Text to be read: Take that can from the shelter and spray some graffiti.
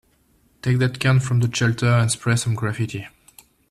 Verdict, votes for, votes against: rejected, 0, 2